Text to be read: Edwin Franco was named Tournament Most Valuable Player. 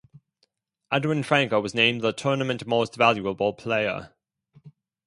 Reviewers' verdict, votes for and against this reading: rejected, 0, 2